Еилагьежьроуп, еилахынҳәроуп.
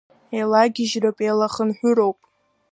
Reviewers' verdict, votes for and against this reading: accepted, 2, 1